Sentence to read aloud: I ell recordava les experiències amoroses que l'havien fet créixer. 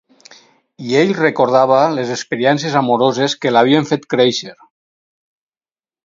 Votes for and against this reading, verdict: 4, 0, accepted